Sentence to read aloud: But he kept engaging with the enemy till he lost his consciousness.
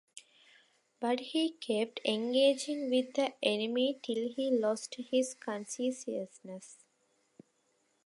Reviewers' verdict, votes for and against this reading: rejected, 1, 2